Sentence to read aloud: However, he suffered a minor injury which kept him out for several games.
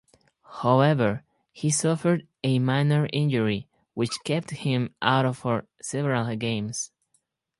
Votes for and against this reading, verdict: 0, 4, rejected